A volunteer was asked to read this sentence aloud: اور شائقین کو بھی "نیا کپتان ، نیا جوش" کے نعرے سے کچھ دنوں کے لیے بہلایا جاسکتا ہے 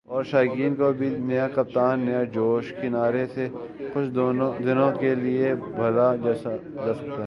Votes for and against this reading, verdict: 3, 4, rejected